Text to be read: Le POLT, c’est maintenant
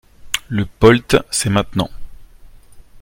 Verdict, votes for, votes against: accepted, 2, 0